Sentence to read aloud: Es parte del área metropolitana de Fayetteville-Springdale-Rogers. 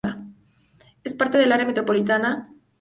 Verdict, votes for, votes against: rejected, 0, 2